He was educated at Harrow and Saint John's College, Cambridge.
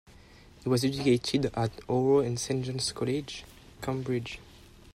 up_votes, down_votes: 1, 2